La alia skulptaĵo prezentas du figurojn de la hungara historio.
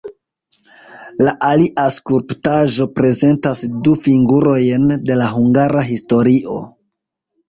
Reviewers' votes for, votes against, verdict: 1, 2, rejected